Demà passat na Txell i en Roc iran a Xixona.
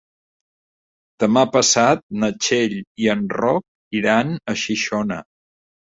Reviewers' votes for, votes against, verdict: 2, 0, accepted